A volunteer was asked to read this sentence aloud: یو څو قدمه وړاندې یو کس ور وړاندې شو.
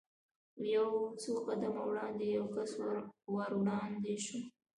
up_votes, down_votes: 2, 0